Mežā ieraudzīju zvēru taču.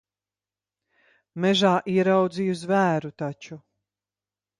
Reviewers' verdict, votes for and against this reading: accepted, 2, 0